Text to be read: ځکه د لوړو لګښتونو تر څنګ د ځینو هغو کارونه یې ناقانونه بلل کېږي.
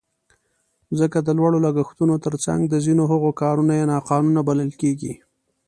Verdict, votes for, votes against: accepted, 2, 0